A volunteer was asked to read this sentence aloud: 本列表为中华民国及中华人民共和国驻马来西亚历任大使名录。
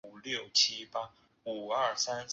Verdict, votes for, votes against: rejected, 1, 2